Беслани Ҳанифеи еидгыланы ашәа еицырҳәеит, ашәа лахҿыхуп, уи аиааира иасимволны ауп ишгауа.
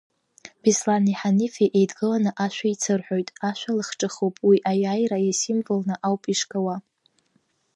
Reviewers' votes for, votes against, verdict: 0, 2, rejected